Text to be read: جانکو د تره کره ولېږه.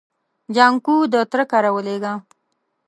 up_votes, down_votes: 2, 0